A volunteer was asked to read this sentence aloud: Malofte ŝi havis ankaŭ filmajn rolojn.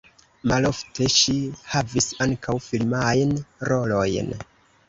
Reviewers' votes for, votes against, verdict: 0, 2, rejected